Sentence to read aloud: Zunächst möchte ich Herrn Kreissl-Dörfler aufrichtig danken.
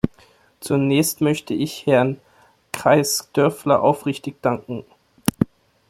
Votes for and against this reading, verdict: 1, 2, rejected